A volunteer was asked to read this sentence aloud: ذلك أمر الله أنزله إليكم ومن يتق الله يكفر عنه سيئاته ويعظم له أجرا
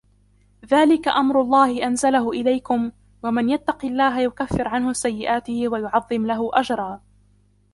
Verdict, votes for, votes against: rejected, 0, 2